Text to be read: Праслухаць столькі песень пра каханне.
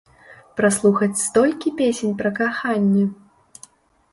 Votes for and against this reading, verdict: 2, 0, accepted